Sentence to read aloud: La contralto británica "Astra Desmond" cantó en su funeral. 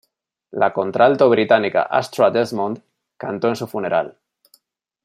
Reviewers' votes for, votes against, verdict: 2, 0, accepted